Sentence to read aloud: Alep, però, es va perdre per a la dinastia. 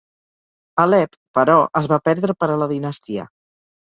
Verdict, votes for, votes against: accepted, 2, 0